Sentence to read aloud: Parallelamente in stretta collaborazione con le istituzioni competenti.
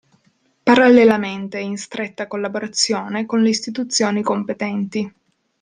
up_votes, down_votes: 2, 0